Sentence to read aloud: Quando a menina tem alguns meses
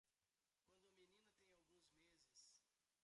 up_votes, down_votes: 1, 2